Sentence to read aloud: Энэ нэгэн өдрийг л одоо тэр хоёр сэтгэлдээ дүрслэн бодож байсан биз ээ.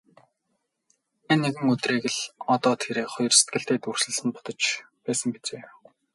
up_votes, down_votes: 2, 0